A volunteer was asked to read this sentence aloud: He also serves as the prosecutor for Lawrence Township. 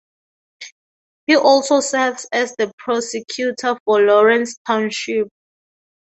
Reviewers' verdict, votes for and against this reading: accepted, 2, 0